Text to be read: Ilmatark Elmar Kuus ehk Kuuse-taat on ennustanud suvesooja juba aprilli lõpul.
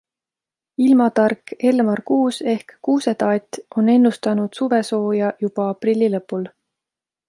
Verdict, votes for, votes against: accepted, 2, 0